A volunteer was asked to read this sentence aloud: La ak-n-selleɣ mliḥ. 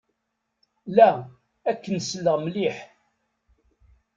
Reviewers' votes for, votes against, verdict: 1, 2, rejected